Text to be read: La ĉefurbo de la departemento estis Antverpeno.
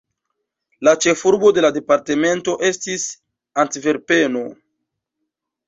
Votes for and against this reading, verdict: 1, 2, rejected